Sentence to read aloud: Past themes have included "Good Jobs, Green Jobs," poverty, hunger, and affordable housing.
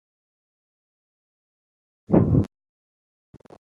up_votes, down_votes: 0, 2